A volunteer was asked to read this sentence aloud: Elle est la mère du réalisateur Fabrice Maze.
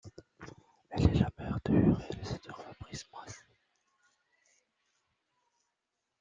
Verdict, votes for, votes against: rejected, 1, 2